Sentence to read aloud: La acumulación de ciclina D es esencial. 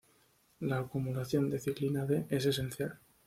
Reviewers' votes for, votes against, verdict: 2, 0, accepted